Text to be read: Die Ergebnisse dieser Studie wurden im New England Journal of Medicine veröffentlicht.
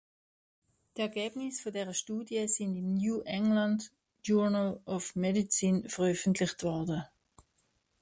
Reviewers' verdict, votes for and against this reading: rejected, 0, 2